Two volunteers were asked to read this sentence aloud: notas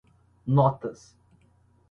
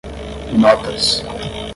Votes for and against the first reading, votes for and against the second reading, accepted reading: 2, 0, 0, 5, first